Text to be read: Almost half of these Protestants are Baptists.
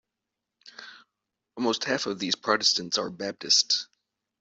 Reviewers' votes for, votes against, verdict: 2, 0, accepted